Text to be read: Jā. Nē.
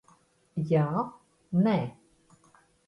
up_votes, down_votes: 2, 0